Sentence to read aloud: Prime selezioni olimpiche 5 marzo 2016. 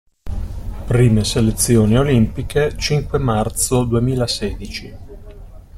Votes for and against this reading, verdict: 0, 2, rejected